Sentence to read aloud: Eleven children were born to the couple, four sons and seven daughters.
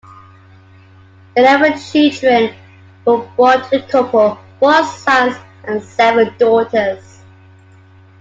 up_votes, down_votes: 2, 1